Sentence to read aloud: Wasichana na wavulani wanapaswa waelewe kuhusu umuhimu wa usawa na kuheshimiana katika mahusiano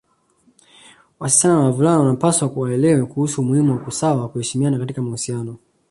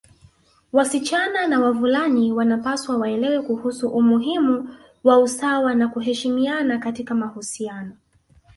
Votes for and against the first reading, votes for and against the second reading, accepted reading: 2, 0, 1, 2, first